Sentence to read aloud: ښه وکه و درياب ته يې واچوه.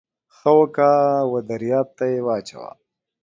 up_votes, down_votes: 3, 0